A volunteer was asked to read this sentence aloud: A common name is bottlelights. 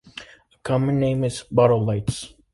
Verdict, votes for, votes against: rejected, 0, 2